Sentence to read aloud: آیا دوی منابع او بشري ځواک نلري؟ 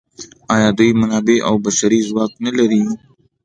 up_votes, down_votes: 2, 0